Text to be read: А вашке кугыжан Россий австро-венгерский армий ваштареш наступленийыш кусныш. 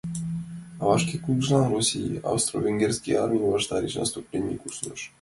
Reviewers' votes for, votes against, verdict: 1, 2, rejected